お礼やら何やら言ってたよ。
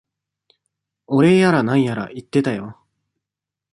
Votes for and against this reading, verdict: 2, 0, accepted